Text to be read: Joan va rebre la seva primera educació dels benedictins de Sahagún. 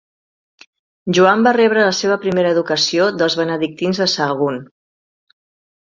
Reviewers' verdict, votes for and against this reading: accepted, 2, 0